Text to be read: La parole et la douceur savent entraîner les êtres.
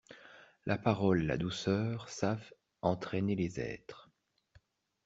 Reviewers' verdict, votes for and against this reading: rejected, 1, 2